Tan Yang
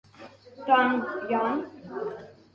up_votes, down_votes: 0, 2